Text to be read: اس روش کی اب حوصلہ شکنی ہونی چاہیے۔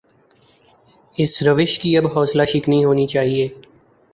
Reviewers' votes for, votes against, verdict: 2, 0, accepted